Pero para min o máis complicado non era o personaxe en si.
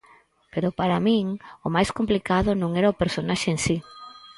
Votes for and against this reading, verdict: 4, 0, accepted